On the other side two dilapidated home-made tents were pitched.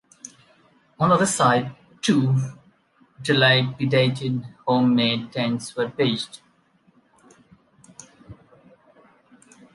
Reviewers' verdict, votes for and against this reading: accepted, 2, 1